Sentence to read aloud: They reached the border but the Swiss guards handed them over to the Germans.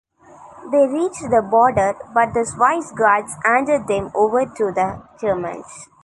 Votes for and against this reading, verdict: 0, 2, rejected